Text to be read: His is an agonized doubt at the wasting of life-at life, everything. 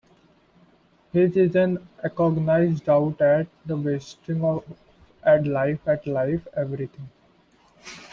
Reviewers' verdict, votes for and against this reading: rejected, 1, 2